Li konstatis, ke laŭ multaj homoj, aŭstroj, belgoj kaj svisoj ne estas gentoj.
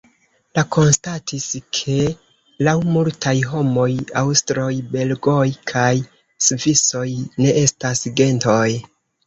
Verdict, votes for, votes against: rejected, 1, 2